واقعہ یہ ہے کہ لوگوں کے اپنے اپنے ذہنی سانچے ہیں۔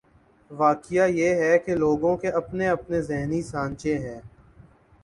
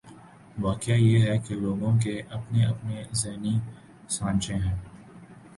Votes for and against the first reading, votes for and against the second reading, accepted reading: 3, 0, 1, 2, first